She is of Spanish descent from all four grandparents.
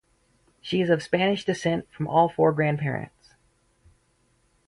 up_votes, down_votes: 4, 0